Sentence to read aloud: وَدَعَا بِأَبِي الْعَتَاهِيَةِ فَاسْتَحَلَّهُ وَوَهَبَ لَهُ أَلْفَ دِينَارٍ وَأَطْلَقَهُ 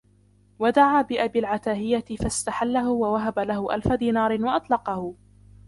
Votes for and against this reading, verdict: 0, 2, rejected